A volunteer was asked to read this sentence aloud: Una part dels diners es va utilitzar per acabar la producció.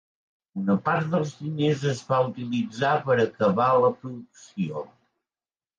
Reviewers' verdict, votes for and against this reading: accepted, 3, 1